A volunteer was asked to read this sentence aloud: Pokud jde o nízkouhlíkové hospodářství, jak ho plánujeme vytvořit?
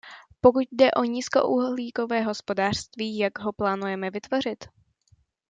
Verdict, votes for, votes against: accepted, 2, 0